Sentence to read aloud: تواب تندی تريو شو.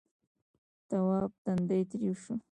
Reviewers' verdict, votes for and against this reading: rejected, 1, 2